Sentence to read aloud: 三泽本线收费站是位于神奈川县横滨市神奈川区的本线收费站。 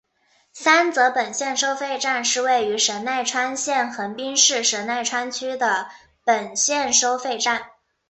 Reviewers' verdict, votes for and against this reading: accepted, 2, 0